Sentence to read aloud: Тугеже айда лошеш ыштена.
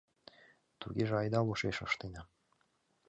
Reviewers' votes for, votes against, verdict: 2, 1, accepted